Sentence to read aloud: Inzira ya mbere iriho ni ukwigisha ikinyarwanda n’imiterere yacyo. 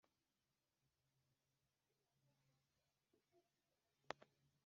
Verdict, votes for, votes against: rejected, 1, 2